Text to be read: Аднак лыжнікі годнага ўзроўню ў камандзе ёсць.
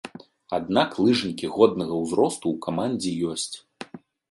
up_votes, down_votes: 0, 2